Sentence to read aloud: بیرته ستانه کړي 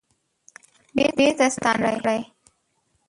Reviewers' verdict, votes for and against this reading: rejected, 0, 2